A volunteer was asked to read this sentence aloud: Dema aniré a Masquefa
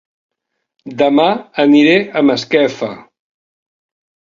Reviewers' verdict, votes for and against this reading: accepted, 2, 0